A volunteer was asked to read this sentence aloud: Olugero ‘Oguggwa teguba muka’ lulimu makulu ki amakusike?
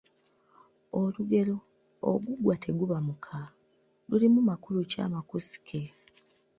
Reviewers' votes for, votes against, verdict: 2, 1, accepted